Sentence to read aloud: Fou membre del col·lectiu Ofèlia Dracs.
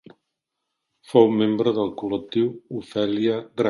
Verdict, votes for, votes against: rejected, 0, 2